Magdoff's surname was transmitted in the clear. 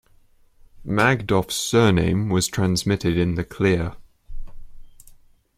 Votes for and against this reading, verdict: 2, 0, accepted